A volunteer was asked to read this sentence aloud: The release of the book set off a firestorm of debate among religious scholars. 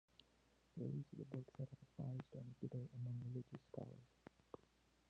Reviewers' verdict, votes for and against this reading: rejected, 0, 2